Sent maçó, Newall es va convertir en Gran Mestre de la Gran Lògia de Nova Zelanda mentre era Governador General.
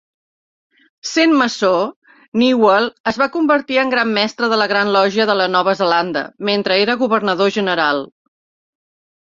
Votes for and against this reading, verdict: 1, 2, rejected